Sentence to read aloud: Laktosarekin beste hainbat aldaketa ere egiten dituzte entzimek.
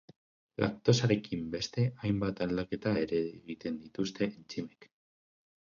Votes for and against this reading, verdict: 2, 2, rejected